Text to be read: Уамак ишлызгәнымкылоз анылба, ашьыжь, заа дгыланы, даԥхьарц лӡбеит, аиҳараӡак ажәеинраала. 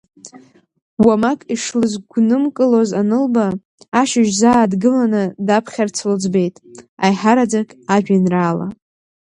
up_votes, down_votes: 4, 0